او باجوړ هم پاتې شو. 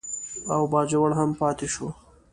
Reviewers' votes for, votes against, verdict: 2, 0, accepted